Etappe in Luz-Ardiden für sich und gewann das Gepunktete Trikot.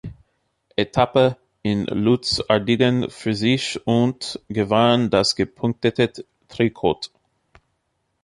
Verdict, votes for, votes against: accepted, 2, 1